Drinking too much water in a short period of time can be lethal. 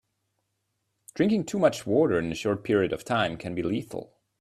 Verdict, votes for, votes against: accepted, 2, 0